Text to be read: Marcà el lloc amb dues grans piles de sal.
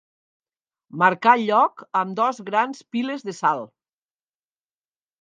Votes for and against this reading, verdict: 1, 2, rejected